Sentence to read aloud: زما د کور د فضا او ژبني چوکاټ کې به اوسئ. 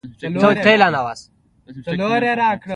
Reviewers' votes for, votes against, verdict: 1, 3, rejected